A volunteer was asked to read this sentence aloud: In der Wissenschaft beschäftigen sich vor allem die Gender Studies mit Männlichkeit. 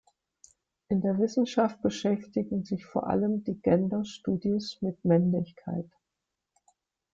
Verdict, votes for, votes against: rejected, 0, 2